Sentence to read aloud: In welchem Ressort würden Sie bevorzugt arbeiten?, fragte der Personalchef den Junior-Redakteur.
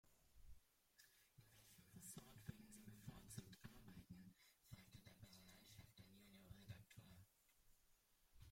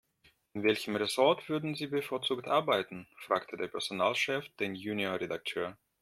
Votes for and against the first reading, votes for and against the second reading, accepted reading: 0, 2, 2, 0, second